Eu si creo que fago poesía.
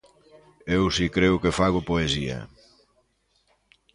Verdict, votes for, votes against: accepted, 2, 0